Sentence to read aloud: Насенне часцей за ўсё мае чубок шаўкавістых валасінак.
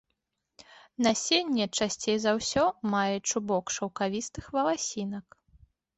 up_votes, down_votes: 2, 0